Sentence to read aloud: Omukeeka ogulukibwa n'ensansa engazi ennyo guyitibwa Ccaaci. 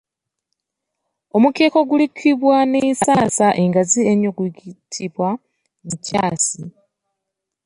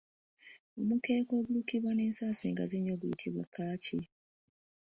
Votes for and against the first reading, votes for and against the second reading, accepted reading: 1, 2, 2, 0, second